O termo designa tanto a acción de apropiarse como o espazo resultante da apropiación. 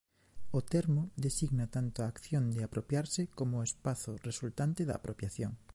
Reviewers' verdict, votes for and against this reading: accepted, 2, 0